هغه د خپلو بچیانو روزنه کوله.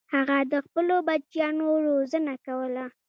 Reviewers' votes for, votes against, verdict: 2, 0, accepted